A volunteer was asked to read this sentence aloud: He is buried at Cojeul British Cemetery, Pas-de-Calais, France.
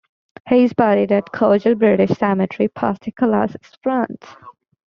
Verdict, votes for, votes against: accepted, 2, 1